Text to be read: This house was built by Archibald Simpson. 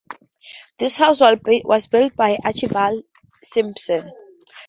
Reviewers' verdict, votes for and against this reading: rejected, 0, 4